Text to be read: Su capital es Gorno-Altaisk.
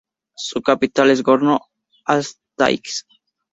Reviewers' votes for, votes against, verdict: 2, 0, accepted